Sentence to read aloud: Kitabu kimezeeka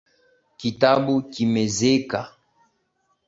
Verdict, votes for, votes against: accepted, 2, 1